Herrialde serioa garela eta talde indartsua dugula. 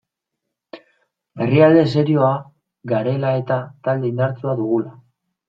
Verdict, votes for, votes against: rejected, 1, 2